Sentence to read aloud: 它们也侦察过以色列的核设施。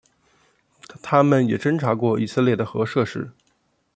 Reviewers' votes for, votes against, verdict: 2, 1, accepted